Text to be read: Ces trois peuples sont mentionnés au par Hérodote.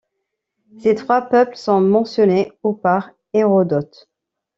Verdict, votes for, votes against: accepted, 2, 0